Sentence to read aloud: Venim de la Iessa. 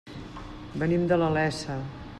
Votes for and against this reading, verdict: 0, 2, rejected